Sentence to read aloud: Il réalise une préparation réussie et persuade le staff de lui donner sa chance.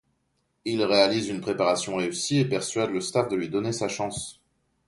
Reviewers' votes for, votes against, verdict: 2, 0, accepted